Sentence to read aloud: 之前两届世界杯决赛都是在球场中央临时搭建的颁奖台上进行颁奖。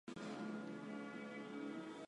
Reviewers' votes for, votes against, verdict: 0, 2, rejected